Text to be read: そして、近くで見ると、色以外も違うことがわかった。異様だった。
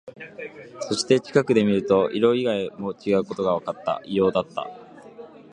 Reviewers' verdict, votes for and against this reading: accepted, 30, 2